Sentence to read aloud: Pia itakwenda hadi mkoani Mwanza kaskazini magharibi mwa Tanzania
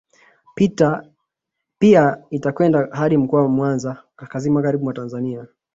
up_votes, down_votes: 0, 2